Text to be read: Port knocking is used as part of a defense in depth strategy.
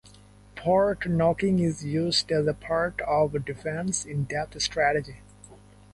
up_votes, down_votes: 0, 2